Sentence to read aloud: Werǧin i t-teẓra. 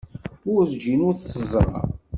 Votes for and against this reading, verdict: 1, 2, rejected